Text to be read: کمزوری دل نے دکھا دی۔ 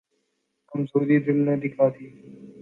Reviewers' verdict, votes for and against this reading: accepted, 2, 0